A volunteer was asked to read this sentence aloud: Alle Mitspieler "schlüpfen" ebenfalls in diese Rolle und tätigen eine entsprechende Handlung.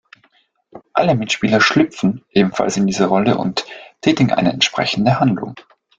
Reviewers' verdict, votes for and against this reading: accepted, 2, 0